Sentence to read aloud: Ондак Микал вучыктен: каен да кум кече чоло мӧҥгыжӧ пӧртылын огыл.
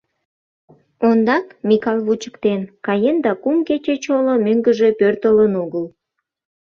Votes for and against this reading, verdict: 2, 0, accepted